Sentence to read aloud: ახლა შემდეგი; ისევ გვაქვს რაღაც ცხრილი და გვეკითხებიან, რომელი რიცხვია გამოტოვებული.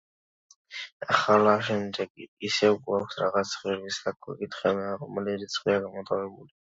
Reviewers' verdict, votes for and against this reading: accepted, 2, 0